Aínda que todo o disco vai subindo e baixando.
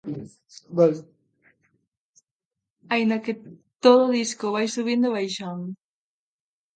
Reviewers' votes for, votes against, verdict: 0, 2, rejected